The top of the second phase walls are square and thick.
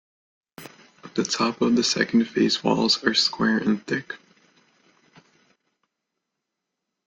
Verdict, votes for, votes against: accepted, 2, 0